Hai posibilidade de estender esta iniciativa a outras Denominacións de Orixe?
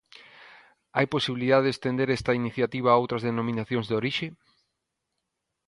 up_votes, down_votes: 2, 0